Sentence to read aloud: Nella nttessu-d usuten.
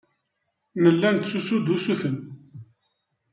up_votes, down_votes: 0, 2